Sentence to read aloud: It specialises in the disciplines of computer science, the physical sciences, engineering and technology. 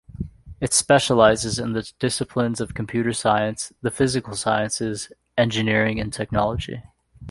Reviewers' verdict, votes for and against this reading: accepted, 2, 1